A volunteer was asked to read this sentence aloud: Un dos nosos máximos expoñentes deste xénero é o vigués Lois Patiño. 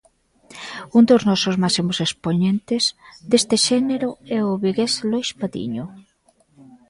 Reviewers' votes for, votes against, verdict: 2, 0, accepted